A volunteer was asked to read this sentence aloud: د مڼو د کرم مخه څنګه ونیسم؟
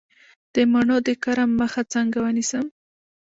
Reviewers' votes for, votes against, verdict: 1, 2, rejected